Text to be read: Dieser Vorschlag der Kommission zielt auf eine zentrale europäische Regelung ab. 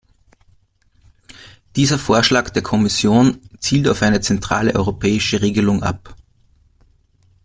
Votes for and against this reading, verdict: 2, 0, accepted